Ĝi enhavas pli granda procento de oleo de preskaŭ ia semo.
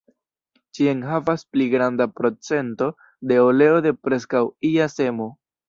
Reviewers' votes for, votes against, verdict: 1, 2, rejected